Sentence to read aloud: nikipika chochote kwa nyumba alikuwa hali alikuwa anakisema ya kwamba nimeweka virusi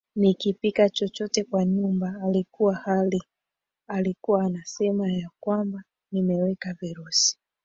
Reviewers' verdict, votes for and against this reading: rejected, 1, 2